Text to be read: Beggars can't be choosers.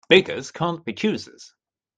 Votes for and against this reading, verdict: 2, 0, accepted